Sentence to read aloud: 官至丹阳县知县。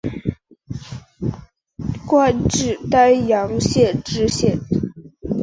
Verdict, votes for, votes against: accepted, 4, 1